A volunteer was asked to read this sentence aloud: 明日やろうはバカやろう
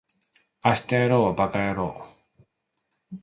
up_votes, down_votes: 2, 1